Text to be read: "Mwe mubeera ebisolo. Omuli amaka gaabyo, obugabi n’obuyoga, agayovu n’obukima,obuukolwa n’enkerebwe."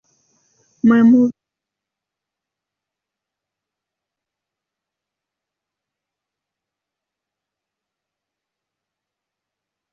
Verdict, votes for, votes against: rejected, 0, 2